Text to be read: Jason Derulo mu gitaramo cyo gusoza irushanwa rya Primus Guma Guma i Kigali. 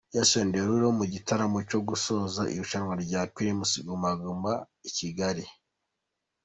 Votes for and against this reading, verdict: 2, 0, accepted